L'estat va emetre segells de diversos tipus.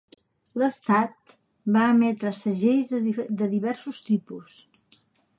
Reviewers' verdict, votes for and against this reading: rejected, 0, 2